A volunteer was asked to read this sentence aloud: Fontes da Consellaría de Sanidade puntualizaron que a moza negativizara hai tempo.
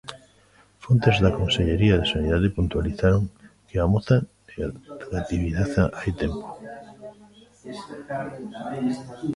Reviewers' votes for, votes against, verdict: 0, 2, rejected